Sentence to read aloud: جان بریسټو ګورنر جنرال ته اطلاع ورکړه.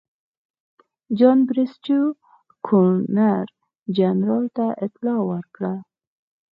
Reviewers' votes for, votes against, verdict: 4, 0, accepted